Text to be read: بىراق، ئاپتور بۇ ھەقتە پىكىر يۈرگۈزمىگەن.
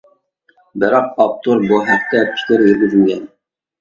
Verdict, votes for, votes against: rejected, 0, 2